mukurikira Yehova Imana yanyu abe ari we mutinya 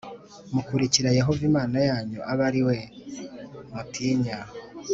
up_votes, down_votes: 3, 0